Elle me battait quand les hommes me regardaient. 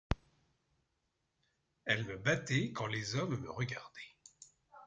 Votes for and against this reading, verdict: 1, 2, rejected